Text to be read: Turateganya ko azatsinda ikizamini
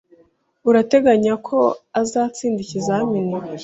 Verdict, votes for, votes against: accepted, 2, 0